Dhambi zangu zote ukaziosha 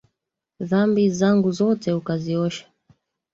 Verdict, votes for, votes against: rejected, 0, 2